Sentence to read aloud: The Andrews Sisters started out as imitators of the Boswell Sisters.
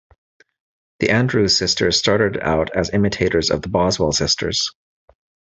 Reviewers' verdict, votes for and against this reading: accepted, 2, 0